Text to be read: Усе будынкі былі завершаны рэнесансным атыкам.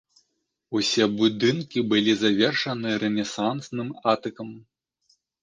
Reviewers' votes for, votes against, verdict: 2, 0, accepted